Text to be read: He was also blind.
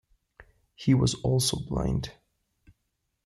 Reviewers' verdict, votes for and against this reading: accepted, 2, 0